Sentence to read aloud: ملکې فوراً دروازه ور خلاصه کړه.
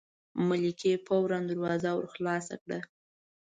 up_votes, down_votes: 2, 0